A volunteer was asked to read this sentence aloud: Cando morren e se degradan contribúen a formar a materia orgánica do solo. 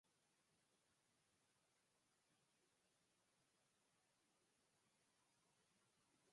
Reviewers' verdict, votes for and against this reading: rejected, 0, 4